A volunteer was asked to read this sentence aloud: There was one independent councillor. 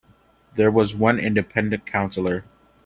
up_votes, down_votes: 2, 0